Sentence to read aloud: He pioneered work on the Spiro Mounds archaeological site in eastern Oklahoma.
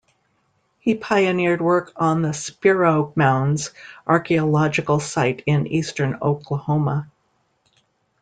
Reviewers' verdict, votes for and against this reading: accepted, 2, 0